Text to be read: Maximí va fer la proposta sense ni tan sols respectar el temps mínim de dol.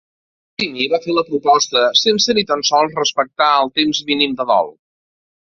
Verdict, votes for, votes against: rejected, 0, 3